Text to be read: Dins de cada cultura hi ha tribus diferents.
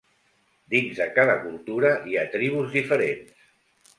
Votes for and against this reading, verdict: 2, 0, accepted